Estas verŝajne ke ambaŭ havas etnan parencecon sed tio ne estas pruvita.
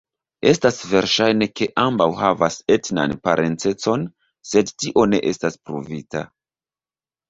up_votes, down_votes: 0, 2